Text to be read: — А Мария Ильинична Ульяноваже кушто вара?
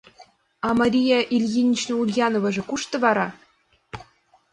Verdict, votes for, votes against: accepted, 2, 0